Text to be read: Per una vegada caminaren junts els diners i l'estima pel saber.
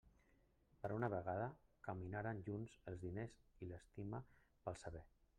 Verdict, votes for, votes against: rejected, 0, 2